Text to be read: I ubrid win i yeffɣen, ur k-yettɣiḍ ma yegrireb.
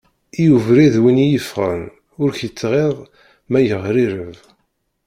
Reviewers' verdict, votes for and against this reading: rejected, 0, 2